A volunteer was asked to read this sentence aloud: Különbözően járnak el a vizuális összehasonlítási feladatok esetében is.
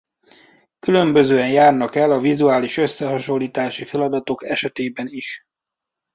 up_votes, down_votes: 2, 0